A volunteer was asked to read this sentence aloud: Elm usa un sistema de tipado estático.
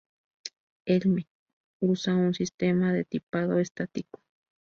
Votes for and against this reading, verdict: 0, 2, rejected